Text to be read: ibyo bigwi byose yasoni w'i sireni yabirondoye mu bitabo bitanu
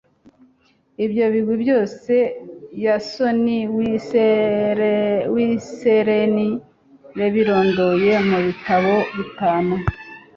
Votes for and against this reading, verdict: 0, 2, rejected